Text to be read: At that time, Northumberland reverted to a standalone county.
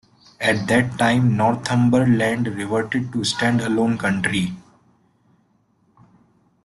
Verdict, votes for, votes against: rejected, 1, 2